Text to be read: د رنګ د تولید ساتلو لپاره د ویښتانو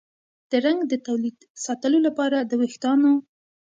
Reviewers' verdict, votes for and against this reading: accepted, 2, 1